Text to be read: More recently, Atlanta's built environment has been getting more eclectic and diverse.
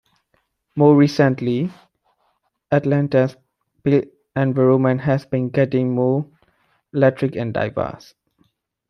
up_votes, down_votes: 0, 2